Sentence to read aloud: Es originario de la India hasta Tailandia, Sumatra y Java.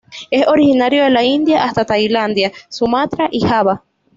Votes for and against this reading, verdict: 2, 0, accepted